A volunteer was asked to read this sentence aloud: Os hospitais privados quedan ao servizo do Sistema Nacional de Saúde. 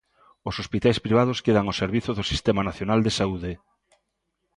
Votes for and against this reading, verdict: 2, 0, accepted